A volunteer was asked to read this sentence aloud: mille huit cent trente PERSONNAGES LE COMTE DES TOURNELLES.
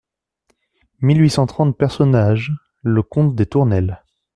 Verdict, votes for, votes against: accepted, 2, 0